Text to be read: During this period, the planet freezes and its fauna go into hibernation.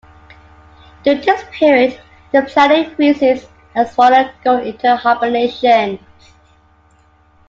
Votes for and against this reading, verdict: 0, 2, rejected